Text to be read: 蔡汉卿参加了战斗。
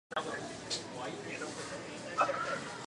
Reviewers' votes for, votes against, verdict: 0, 2, rejected